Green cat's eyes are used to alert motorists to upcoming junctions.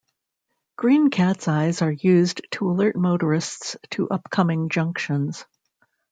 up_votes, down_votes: 3, 0